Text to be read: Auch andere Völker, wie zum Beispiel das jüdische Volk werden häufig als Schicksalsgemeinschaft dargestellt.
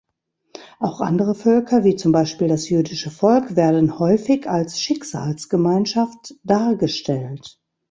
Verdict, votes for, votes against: accepted, 2, 0